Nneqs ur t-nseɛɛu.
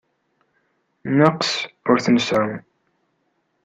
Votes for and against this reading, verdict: 2, 0, accepted